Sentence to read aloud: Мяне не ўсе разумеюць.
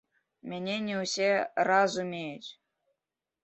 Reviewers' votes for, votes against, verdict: 0, 2, rejected